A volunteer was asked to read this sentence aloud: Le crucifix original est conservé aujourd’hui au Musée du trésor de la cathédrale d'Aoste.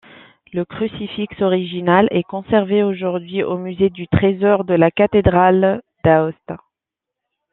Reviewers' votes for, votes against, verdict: 2, 1, accepted